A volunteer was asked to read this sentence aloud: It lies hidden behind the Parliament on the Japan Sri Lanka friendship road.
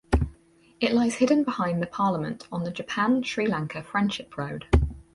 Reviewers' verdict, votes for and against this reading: accepted, 4, 0